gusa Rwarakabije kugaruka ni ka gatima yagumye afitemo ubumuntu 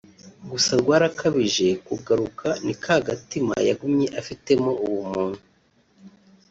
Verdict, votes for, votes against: accepted, 2, 1